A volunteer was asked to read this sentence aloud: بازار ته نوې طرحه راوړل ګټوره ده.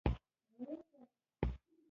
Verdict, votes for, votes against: rejected, 1, 2